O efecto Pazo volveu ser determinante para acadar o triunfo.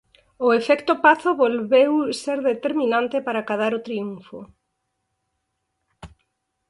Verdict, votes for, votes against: accepted, 4, 0